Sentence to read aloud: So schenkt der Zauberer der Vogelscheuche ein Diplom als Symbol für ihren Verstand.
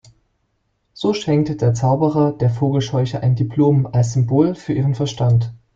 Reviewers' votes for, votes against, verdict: 0, 2, rejected